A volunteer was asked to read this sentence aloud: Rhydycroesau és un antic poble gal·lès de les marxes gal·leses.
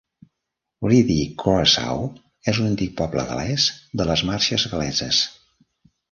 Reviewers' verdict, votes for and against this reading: rejected, 1, 2